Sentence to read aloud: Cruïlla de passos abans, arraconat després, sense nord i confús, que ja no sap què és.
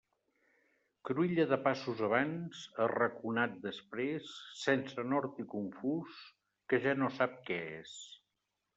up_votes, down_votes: 2, 0